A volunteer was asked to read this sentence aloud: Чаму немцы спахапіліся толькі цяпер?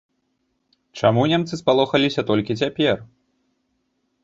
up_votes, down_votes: 1, 2